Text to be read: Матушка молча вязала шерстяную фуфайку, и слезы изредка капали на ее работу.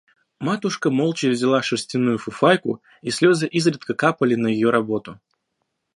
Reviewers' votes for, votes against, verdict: 0, 2, rejected